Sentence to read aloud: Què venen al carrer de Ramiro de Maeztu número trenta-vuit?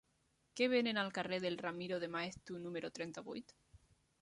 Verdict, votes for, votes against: rejected, 1, 2